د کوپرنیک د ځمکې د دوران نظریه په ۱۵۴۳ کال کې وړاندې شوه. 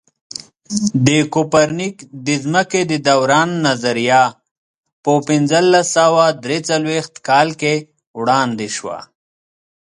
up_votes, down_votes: 0, 2